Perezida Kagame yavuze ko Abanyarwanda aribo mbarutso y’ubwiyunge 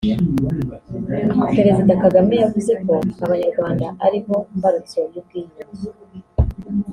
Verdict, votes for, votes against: accepted, 2, 0